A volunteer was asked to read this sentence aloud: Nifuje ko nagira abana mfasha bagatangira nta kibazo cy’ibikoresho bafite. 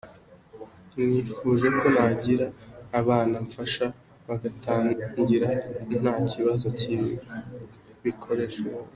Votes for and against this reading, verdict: 2, 0, accepted